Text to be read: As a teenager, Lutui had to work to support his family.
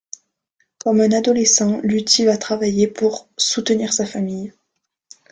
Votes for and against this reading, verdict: 0, 2, rejected